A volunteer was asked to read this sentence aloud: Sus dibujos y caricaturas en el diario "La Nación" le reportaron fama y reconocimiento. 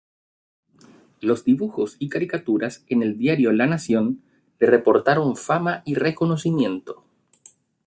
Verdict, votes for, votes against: rejected, 1, 2